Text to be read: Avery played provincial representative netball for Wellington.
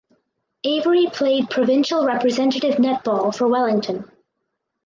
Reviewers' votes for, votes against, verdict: 4, 0, accepted